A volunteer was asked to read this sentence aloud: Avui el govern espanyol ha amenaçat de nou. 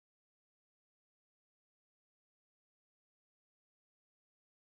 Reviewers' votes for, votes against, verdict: 0, 2, rejected